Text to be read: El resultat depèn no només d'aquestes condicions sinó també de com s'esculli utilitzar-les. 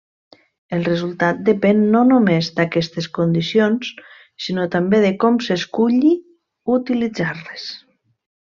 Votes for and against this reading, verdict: 1, 2, rejected